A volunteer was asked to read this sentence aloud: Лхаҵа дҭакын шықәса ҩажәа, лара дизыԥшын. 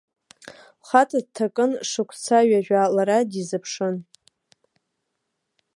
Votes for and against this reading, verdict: 2, 0, accepted